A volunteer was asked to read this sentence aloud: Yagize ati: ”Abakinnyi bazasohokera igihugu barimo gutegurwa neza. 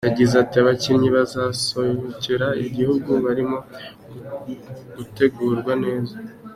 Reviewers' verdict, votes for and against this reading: accepted, 3, 1